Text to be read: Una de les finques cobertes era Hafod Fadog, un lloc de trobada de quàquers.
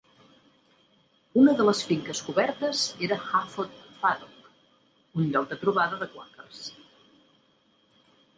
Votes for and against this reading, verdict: 0, 2, rejected